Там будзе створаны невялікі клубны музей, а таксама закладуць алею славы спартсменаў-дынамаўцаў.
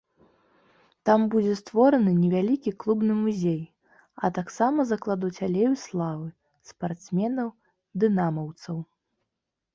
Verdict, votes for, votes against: accepted, 2, 0